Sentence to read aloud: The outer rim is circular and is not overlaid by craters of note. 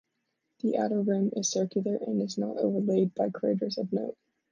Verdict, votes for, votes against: rejected, 0, 2